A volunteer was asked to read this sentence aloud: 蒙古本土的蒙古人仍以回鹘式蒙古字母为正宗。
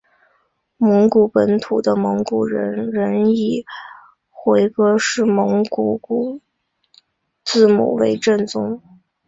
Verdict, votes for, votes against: accepted, 2, 0